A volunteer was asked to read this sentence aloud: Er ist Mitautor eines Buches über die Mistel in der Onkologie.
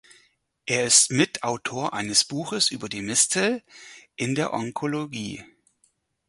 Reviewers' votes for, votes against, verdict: 4, 0, accepted